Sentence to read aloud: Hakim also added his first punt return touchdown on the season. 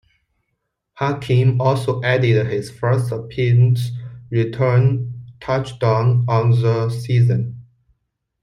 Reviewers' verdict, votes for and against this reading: rejected, 1, 2